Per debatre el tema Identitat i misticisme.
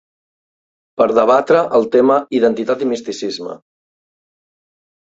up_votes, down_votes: 2, 0